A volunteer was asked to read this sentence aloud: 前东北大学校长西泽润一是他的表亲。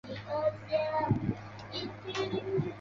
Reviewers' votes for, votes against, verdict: 0, 2, rejected